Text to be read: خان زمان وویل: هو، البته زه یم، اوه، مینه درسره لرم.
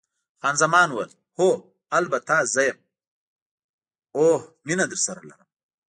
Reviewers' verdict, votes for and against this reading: rejected, 0, 2